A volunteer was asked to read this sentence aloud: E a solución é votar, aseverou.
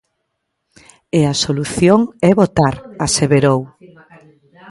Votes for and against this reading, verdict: 0, 2, rejected